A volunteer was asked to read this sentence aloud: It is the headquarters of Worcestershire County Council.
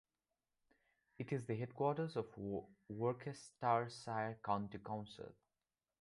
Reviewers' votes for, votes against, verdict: 0, 2, rejected